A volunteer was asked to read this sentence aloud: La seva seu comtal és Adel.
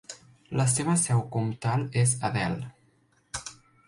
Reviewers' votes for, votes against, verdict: 2, 0, accepted